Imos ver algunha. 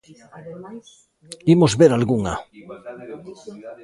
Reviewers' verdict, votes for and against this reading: rejected, 0, 2